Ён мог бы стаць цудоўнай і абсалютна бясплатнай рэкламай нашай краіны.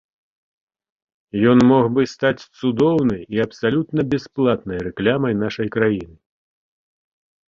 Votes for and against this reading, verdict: 0, 2, rejected